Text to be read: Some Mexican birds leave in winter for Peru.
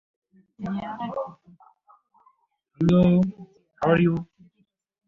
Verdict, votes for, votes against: rejected, 0, 2